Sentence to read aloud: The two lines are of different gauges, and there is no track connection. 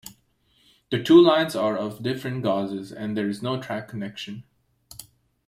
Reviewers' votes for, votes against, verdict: 0, 2, rejected